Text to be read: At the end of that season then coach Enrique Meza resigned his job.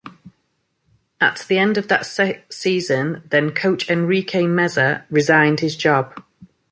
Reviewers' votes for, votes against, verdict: 1, 2, rejected